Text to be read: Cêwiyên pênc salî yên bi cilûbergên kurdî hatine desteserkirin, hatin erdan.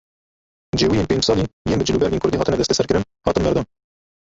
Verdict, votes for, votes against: rejected, 0, 2